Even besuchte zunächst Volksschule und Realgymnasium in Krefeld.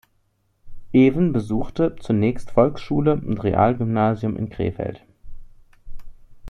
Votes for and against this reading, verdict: 2, 0, accepted